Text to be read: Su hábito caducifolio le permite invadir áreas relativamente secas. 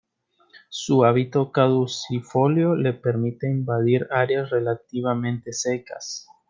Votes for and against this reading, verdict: 2, 0, accepted